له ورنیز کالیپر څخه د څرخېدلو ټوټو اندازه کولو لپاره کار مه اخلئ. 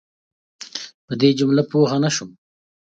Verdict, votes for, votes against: rejected, 0, 2